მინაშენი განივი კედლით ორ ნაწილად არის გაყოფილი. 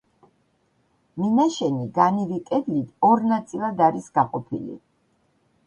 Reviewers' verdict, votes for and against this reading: accepted, 2, 1